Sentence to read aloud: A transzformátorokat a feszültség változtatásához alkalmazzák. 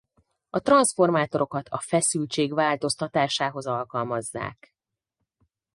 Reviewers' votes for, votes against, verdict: 4, 0, accepted